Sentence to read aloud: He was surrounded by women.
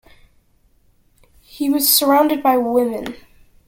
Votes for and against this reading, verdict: 2, 0, accepted